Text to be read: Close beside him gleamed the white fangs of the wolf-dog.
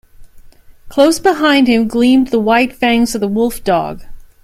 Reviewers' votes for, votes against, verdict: 1, 2, rejected